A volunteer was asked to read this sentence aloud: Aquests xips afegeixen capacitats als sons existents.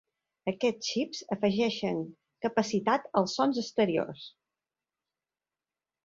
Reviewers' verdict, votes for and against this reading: accepted, 2, 1